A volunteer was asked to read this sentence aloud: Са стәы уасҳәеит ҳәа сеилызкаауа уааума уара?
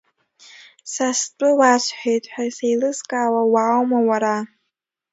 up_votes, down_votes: 2, 0